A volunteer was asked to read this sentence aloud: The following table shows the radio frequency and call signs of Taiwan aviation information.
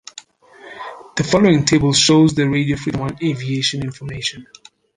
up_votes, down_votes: 0, 2